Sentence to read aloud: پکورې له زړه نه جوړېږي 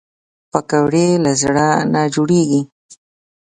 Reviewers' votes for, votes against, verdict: 2, 0, accepted